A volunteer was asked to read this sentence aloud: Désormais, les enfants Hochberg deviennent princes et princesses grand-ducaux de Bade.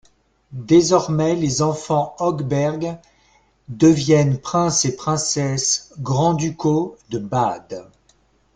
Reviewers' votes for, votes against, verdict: 2, 0, accepted